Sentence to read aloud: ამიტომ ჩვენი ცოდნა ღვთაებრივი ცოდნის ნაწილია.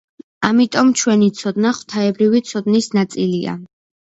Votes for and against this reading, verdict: 2, 0, accepted